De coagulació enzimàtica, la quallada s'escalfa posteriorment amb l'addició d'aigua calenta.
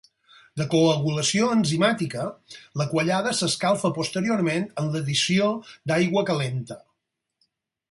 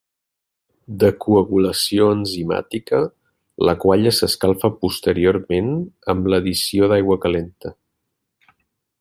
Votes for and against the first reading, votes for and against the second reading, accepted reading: 4, 0, 0, 2, first